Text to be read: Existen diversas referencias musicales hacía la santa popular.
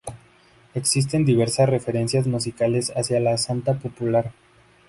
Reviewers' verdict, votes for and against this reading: accepted, 2, 0